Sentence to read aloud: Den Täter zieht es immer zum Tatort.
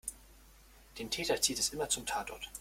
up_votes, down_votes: 2, 0